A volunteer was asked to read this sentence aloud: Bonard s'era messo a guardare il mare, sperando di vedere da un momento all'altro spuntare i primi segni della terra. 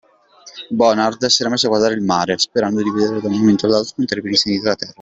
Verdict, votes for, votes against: rejected, 0, 2